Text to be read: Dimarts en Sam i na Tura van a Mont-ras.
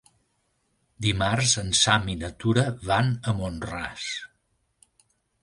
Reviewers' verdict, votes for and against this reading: accepted, 3, 0